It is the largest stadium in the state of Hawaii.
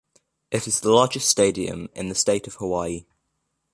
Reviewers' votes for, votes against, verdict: 2, 0, accepted